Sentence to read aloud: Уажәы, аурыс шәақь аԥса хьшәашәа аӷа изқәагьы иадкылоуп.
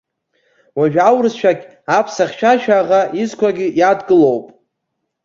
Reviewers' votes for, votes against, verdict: 2, 0, accepted